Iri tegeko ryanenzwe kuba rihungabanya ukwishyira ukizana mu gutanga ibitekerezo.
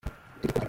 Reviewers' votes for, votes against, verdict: 0, 2, rejected